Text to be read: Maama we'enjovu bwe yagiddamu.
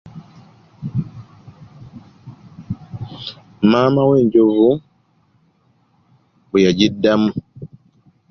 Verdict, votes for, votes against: accepted, 2, 0